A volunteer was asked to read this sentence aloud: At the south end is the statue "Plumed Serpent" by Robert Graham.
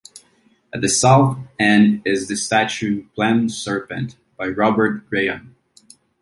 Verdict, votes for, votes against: rejected, 1, 2